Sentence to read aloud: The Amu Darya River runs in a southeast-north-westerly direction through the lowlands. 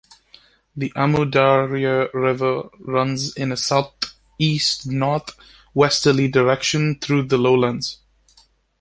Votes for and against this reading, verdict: 2, 0, accepted